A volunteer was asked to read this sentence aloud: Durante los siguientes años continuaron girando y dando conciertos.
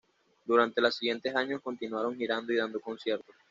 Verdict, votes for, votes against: accepted, 2, 1